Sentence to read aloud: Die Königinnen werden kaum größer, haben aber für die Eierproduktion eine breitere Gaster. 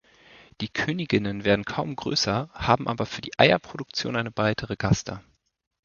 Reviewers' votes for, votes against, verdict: 2, 0, accepted